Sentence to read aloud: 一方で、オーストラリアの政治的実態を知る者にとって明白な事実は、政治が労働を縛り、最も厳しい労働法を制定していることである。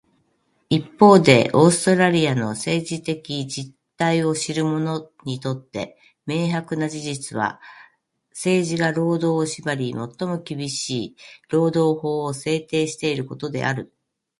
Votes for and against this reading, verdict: 0, 2, rejected